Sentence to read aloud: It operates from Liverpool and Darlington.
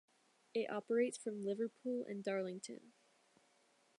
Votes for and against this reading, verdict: 2, 1, accepted